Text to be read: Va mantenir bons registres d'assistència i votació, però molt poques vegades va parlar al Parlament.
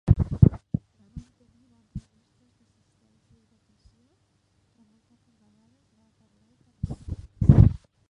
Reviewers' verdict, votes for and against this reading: rejected, 0, 2